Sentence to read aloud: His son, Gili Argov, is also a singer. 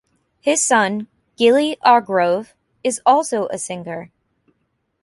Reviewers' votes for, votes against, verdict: 1, 2, rejected